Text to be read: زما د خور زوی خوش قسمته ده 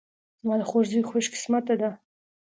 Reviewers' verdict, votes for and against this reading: accepted, 2, 0